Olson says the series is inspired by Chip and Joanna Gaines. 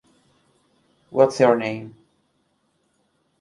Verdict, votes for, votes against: rejected, 0, 2